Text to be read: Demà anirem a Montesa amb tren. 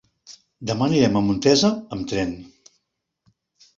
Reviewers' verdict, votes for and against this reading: accepted, 3, 0